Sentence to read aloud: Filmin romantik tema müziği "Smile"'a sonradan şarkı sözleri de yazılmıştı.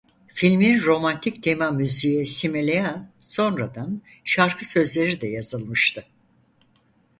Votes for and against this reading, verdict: 0, 4, rejected